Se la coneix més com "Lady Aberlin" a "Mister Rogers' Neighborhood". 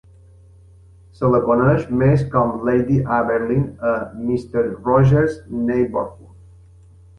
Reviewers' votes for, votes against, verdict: 1, 2, rejected